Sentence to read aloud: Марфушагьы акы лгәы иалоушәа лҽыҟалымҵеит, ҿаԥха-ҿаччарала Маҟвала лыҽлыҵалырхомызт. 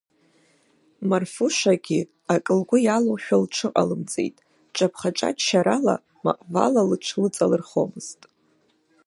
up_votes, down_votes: 0, 2